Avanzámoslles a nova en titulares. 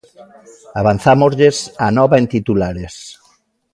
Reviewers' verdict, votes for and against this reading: rejected, 0, 2